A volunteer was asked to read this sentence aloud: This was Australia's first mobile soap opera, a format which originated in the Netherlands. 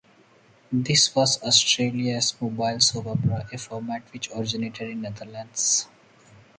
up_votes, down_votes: 0, 2